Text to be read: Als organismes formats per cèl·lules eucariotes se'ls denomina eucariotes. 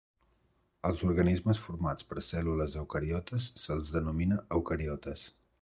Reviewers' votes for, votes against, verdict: 2, 0, accepted